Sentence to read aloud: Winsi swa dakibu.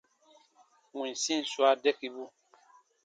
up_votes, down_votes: 2, 1